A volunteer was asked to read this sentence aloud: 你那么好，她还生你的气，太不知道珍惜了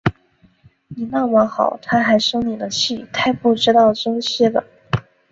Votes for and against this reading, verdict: 4, 0, accepted